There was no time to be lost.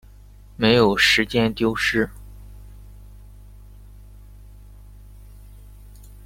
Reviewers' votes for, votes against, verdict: 0, 2, rejected